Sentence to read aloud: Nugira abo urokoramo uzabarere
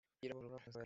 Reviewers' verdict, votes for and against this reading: rejected, 1, 3